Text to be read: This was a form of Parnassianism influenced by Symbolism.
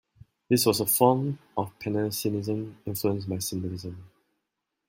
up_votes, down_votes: 0, 2